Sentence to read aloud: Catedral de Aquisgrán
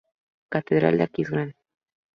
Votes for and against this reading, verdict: 0, 2, rejected